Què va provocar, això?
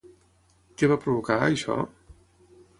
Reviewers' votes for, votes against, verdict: 6, 0, accepted